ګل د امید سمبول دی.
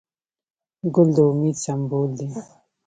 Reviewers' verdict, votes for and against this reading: accepted, 2, 0